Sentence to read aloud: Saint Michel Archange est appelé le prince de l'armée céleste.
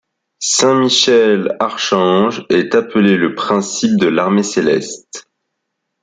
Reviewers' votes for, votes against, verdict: 0, 2, rejected